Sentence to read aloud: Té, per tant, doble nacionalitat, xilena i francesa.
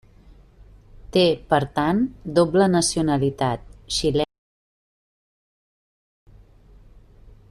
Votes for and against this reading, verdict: 1, 2, rejected